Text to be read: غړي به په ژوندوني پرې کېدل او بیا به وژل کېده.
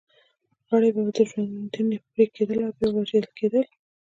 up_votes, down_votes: 1, 2